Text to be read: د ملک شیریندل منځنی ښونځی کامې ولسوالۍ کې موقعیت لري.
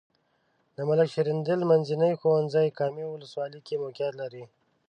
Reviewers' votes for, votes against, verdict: 1, 2, rejected